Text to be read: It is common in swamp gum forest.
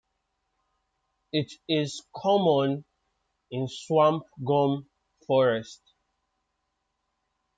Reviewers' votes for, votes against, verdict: 2, 1, accepted